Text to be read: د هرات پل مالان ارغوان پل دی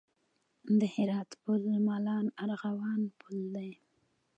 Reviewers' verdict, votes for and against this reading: accepted, 2, 0